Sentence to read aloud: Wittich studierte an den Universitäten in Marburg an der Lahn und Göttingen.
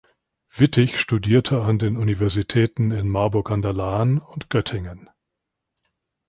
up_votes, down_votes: 2, 0